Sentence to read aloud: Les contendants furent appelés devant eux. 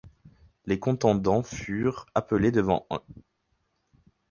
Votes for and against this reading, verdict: 2, 6, rejected